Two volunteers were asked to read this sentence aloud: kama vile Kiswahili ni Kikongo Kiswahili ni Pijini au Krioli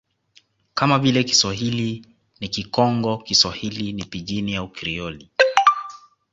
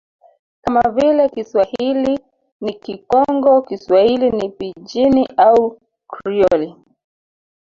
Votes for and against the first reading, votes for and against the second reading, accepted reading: 2, 1, 1, 3, first